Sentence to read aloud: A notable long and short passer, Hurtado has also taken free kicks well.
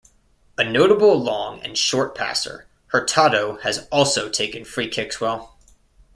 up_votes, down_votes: 2, 0